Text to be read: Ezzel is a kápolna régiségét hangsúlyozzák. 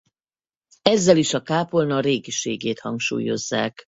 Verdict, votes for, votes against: rejected, 2, 2